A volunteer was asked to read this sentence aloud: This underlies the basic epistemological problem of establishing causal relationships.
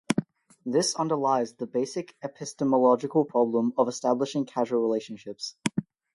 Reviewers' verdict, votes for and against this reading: accepted, 4, 0